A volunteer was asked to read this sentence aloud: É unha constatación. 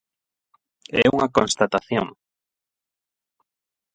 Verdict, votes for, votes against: rejected, 4, 4